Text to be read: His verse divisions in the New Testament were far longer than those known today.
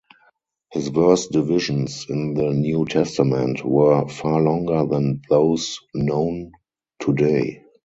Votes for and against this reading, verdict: 0, 2, rejected